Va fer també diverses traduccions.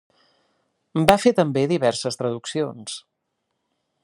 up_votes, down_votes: 3, 0